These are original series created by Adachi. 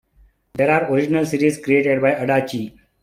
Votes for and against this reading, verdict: 2, 1, accepted